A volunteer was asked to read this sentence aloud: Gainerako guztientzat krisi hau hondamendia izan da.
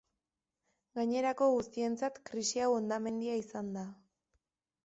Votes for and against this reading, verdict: 2, 0, accepted